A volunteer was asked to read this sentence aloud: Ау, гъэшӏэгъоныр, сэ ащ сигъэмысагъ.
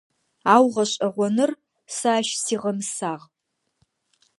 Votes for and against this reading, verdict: 2, 0, accepted